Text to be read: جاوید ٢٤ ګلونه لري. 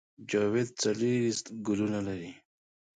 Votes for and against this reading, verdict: 0, 2, rejected